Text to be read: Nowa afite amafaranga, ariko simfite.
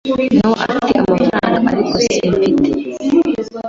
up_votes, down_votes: 1, 2